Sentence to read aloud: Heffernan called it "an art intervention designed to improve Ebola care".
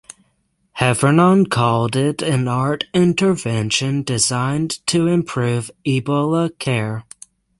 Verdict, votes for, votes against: accepted, 6, 0